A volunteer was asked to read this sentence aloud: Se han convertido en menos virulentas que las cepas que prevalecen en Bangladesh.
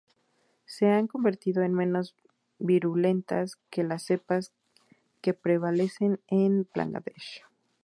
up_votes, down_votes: 2, 2